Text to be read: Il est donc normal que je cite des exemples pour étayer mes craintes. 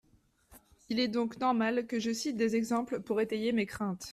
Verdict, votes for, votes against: accepted, 2, 0